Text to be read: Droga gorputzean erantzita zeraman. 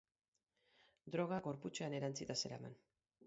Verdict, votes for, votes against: rejected, 2, 4